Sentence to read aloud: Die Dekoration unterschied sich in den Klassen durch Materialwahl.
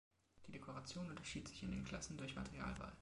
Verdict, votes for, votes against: accepted, 3, 2